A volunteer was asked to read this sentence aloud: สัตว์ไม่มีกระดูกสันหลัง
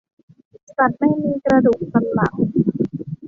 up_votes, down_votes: 2, 0